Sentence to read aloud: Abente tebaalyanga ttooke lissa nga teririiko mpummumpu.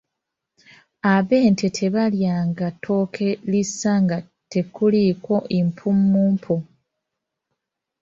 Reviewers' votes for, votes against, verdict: 0, 2, rejected